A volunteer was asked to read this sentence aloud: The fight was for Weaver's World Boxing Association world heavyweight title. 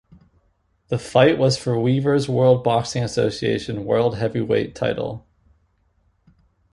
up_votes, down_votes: 2, 0